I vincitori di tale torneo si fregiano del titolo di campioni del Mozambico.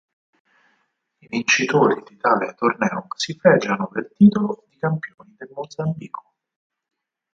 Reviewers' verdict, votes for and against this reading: rejected, 2, 4